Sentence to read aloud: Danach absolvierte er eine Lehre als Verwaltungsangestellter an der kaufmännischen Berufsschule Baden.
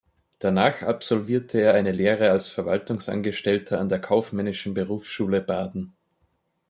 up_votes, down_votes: 2, 0